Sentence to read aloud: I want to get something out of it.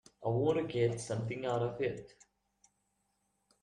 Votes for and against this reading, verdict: 0, 2, rejected